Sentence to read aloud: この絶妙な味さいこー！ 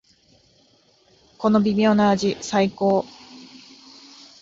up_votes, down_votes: 1, 2